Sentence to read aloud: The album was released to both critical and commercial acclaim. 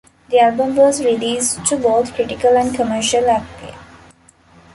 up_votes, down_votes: 1, 2